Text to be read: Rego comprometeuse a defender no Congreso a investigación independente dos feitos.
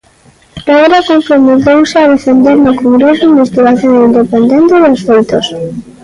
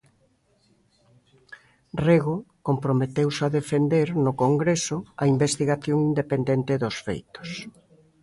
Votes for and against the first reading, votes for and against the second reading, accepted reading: 0, 2, 2, 0, second